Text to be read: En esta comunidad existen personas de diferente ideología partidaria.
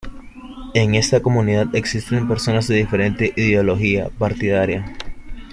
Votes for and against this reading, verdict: 2, 0, accepted